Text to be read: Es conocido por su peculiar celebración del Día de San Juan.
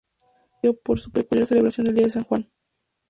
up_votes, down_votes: 0, 4